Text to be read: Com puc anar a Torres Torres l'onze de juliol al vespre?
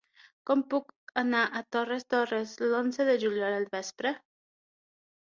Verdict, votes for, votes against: accepted, 15, 0